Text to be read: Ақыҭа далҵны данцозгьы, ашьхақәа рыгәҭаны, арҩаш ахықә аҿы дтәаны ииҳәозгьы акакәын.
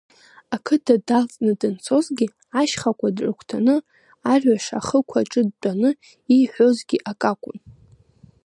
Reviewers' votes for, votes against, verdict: 2, 1, accepted